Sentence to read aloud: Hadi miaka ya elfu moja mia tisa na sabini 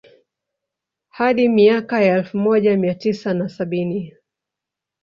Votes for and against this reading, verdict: 2, 3, rejected